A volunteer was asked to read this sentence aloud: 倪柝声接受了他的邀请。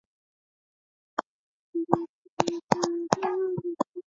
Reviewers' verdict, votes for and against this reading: accepted, 2, 0